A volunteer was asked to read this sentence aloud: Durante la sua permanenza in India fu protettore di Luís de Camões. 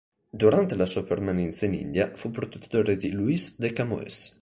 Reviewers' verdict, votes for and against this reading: rejected, 1, 2